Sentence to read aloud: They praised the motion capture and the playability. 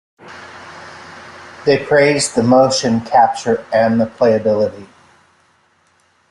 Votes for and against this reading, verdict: 3, 0, accepted